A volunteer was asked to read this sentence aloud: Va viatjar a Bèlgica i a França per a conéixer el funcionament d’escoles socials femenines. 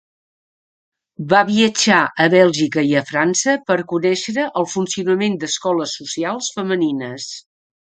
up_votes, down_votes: 2, 3